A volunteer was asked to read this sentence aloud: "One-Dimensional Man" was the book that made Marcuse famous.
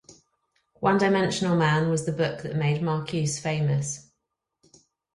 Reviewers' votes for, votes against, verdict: 4, 0, accepted